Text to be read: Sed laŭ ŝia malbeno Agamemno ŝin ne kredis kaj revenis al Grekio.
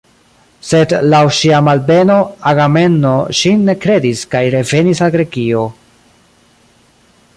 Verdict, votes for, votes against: rejected, 0, 2